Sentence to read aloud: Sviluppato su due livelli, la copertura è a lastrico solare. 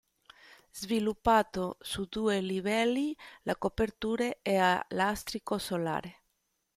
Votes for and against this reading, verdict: 2, 0, accepted